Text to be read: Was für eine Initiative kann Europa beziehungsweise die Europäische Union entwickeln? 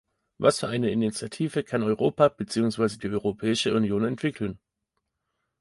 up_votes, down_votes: 2, 0